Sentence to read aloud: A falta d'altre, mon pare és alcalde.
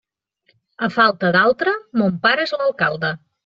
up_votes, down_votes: 1, 2